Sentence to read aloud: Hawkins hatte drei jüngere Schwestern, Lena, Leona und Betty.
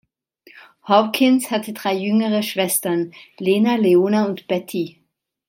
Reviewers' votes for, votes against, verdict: 2, 1, accepted